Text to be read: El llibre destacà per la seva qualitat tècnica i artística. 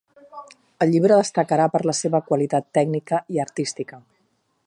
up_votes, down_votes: 1, 2